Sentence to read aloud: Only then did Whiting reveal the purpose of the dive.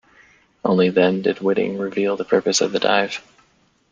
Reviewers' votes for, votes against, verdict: 2, 0, accepted